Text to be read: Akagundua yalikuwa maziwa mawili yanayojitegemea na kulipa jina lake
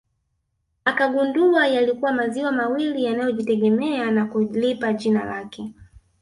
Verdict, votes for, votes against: accepted, 2, 1